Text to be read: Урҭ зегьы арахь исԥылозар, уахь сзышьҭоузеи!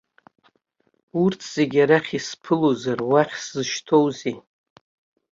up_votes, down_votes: 2, 0